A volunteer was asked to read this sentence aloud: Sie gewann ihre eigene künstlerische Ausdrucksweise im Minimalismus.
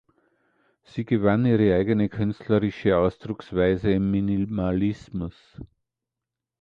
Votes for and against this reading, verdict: 2, 0, accepted